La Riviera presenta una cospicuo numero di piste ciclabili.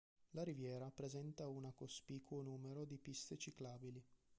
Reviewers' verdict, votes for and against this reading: accepted, 3, 1